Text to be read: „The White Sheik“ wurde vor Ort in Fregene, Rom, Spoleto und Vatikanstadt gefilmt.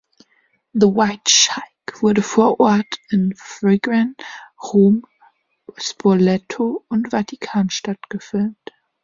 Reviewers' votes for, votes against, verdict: 2, 1, accepted